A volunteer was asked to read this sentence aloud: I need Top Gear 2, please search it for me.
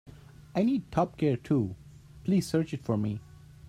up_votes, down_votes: 0, 2